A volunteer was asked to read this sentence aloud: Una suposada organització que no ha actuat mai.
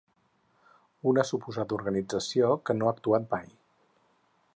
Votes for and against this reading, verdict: 4, 0, accepted